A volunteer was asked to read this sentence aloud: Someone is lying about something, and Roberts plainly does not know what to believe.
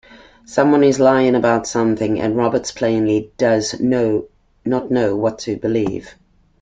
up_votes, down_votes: 0, 2